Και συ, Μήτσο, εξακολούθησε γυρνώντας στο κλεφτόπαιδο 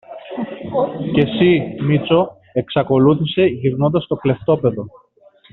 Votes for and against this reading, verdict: 2, 0, accepted